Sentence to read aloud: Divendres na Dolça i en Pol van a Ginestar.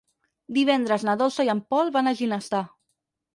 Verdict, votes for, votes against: rejected, 2, 4